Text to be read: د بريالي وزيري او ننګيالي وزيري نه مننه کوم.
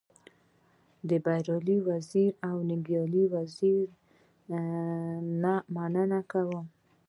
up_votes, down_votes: 2, 0